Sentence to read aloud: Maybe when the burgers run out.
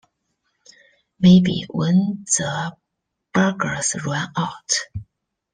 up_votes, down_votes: 2, 1